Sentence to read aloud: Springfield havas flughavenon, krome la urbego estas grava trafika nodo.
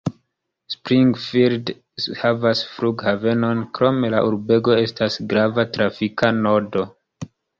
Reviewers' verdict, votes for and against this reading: accepted, 2, 0